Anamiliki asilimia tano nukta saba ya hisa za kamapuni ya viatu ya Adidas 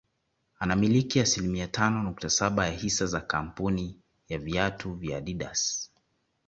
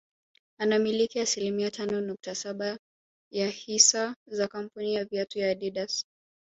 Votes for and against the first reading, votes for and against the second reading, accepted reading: 2, 0, 1, 2, first